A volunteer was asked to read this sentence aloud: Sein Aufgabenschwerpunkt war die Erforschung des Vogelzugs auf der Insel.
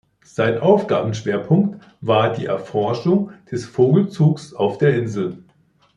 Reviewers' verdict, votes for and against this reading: accepted, 2, 0